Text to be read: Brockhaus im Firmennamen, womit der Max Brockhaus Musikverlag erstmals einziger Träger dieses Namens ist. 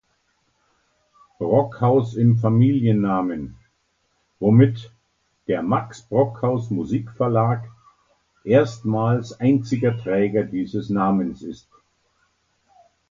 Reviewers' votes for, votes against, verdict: 0, 2, rejected